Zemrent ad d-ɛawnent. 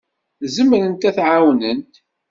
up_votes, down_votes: 2, 1